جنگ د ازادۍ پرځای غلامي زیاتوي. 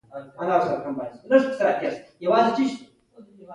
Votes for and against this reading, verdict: 0, 2, rejected